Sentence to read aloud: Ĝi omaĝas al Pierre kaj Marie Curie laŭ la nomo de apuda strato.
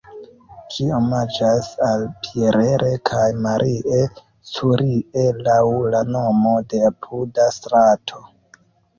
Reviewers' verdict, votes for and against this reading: rejected, 1, 2